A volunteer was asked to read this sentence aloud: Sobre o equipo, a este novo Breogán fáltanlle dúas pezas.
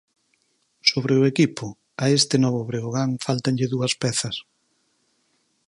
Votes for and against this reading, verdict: 0, 4, rejected